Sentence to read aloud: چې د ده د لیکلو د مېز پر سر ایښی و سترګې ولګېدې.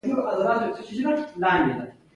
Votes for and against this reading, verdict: 1, 2, rejected